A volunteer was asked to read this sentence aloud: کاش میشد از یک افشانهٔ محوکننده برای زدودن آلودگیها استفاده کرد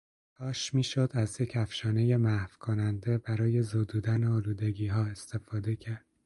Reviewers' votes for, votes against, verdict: 2, 0, accepted